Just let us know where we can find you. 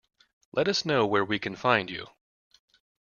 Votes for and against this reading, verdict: 1, 2, rejected